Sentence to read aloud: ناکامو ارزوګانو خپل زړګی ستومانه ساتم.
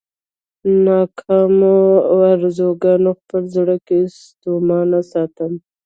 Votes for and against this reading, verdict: 1, 2, rejected